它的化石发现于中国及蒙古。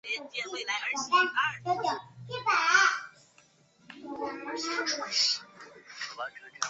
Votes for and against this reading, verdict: 0, 2, rejected